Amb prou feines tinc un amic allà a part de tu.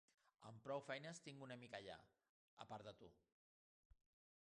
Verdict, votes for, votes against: accepted, 2, 1